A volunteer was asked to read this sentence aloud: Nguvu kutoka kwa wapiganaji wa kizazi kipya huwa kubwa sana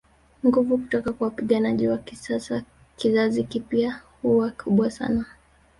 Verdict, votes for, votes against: accepted, 2, 1